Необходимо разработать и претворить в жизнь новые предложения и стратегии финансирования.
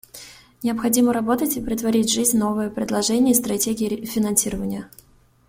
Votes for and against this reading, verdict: 1, 2, rejected